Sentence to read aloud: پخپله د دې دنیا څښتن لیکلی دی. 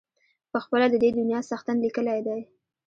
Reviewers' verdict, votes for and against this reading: accepted, 2, 0